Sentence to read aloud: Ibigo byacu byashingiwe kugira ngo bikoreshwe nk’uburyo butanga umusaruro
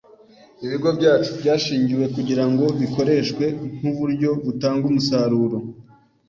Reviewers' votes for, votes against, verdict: 2, 0, accepted